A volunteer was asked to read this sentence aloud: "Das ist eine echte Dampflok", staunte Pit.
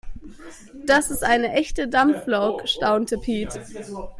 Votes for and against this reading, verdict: 0, 2, rejected